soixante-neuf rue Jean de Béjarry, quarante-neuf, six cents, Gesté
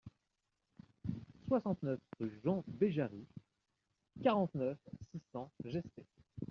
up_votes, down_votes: 1, 2